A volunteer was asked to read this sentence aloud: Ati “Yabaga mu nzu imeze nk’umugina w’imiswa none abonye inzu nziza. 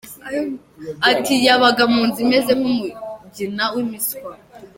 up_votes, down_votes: 0, 2